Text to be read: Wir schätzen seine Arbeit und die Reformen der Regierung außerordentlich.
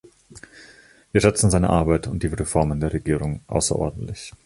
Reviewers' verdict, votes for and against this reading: accepted, 2, 0